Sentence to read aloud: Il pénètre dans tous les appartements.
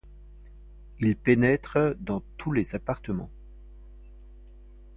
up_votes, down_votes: 2, 1